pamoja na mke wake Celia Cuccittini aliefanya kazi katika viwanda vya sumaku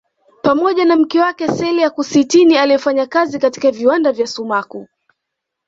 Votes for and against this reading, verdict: 2, 0, accepted